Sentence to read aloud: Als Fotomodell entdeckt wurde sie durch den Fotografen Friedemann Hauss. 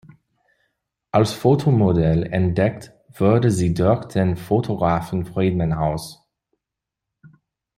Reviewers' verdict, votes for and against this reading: rejected, 0, 2